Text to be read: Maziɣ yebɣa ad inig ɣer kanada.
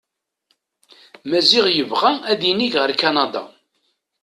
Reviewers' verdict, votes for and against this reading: accepted, 2, 0